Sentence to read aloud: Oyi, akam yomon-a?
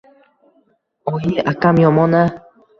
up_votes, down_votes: 1, 2